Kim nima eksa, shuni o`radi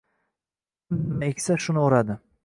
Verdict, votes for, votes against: rejected, 0, 2